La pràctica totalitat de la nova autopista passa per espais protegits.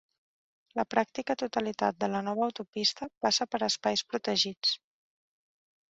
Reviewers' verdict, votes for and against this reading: accepted, 3, 0